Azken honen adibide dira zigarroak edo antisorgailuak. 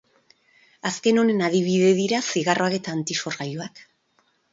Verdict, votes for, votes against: rejected, 2, 2